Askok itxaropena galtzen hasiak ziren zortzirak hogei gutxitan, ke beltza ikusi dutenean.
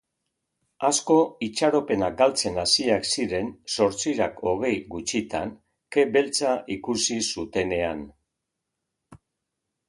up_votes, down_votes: 0, 2